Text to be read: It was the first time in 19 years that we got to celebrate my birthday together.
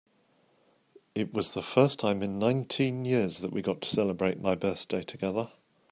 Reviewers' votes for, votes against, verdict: 0, 2, rejected